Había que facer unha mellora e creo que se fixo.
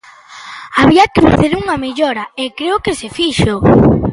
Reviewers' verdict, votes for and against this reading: accepted, 2, 0